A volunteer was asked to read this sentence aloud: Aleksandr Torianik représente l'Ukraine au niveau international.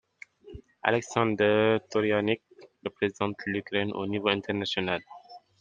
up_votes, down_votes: 2, 0